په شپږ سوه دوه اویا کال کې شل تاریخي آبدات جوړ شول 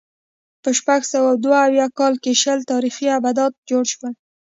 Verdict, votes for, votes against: rejected, 2, 3